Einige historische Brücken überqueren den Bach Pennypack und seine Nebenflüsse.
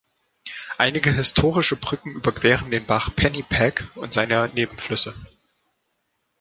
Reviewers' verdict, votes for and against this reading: accepted, 2, 1